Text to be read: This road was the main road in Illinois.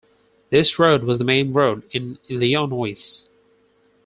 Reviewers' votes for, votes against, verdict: 2, 4, rejected